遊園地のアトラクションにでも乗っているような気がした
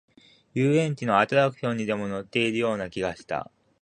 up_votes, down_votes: 1, 2